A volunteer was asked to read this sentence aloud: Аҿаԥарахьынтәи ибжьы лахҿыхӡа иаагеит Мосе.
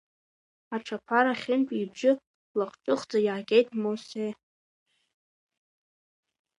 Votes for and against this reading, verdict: 1, 2, rejected